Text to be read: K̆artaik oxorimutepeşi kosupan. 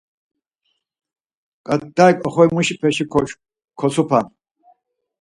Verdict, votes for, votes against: rejected, 2, 4